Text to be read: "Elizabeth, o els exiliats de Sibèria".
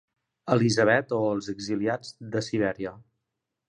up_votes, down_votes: 2, 0